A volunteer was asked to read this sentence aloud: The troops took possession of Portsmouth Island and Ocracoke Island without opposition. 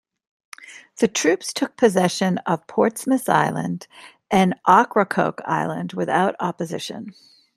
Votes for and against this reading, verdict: 2, 0, accepted